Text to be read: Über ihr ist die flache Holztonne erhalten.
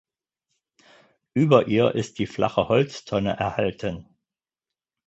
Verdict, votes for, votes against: accepted, 4, 0